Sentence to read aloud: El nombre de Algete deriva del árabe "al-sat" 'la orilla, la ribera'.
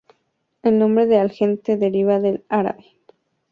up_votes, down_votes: 0, 4